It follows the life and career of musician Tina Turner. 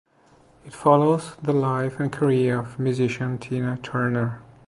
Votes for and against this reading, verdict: 2, 0, accepted